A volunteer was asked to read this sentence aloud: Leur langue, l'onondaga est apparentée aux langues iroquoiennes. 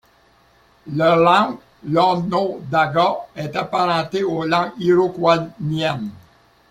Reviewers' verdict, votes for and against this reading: accepted, 2, 1